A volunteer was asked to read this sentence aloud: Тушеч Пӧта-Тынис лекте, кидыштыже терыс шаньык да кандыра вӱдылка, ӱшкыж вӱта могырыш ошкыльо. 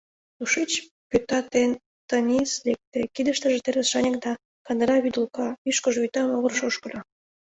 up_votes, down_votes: 1, 2